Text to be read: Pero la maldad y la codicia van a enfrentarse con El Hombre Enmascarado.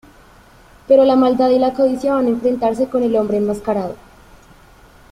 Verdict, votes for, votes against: accepted, 3, 0